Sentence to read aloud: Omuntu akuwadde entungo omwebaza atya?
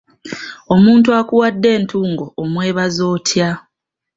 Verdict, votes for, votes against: accepted, 2, 0